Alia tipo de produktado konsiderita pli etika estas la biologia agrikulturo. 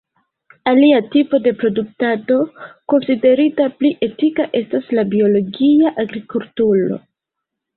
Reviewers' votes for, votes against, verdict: 2, 0, accepted